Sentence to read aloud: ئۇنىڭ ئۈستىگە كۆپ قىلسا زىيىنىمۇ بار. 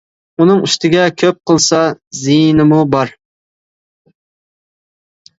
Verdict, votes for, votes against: accepted, 2, 0